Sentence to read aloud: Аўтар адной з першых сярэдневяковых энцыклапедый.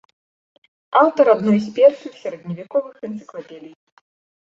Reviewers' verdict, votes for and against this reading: accepted, 2, 0